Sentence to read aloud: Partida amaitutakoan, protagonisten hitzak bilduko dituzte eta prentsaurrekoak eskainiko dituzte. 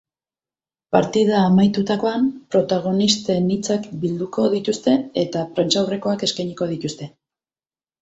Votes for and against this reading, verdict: 2, 2, rejected